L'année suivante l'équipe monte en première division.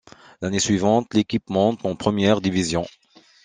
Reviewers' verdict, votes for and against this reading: accepted, 2, 1